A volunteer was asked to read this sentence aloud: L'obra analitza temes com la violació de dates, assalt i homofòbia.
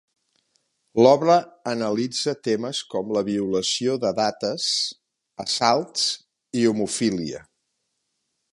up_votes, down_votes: 0, 2